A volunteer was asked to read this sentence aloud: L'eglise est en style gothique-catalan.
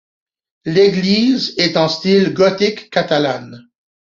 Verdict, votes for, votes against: rejected, 1, 2